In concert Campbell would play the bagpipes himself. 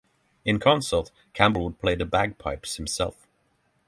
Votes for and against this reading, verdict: 6, 3, accepted